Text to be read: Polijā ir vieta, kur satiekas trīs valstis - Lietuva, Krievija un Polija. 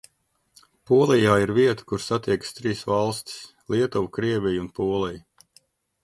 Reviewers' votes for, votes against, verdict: 2, 0, accepted